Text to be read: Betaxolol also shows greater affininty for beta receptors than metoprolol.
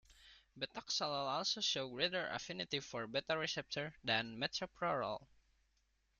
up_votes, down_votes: 2, 0